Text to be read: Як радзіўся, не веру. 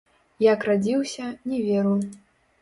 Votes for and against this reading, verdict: 0, 2, rejected